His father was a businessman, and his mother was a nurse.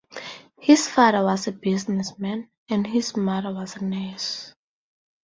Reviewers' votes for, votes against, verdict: 4, 0, accepted